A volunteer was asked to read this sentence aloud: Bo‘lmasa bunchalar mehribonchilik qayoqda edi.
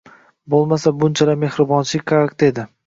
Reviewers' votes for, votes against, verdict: 0, 3, rejected